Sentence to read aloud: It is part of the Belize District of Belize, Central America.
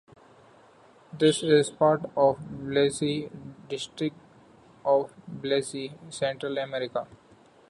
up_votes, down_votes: 0, 2